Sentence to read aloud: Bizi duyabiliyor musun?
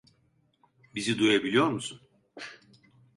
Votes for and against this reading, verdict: 2, 1, accepted